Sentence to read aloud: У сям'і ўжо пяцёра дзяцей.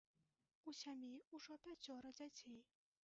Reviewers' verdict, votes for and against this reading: rejected, 1, 2